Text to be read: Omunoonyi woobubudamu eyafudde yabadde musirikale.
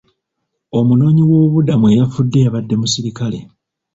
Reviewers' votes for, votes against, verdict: 2, 1, accepted